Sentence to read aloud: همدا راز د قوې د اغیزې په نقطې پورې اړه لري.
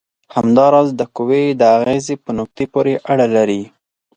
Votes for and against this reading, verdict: 4, 0, accepted